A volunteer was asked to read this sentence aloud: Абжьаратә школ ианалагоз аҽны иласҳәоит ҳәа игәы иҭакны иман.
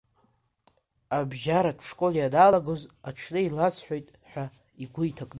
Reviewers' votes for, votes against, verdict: 1, 2, rejected